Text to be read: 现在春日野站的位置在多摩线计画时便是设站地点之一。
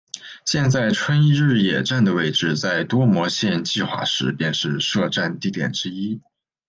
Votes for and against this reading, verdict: 2, 0, accepted